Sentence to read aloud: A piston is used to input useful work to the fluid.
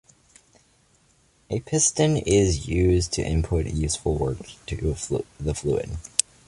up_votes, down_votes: 1, 2